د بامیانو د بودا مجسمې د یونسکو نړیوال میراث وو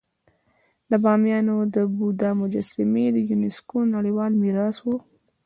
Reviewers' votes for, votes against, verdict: 2, 0, accepted